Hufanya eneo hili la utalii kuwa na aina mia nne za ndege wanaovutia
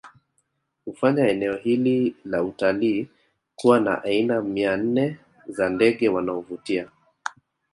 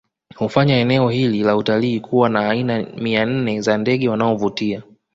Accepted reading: second